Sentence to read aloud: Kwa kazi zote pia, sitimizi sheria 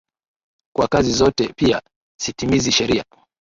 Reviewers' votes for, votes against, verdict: 9, 0, accepted